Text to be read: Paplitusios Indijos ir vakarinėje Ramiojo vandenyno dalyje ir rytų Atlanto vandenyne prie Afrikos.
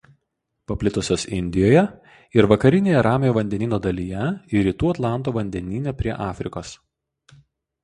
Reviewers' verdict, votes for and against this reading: rejected, 0, 2